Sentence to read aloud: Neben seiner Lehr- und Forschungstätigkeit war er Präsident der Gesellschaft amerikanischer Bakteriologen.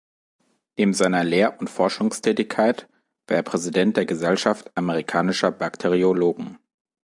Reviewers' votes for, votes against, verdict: 1, 2, rejected